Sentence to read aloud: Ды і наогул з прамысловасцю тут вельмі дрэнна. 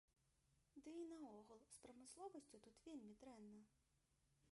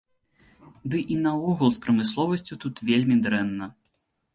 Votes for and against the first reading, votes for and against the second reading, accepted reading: 0, 2, 3, 0, second